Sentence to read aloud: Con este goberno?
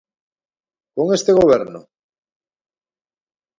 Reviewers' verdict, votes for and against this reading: accepted, 2, 0